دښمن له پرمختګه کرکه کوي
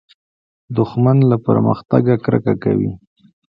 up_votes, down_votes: 2, 0